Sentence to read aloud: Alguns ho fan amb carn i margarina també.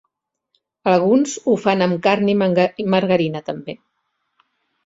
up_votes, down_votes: 1, 2